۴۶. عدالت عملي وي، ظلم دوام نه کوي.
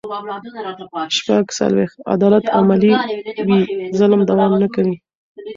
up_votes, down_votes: 0, 2